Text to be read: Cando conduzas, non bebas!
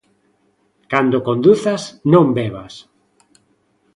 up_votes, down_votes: 2, 0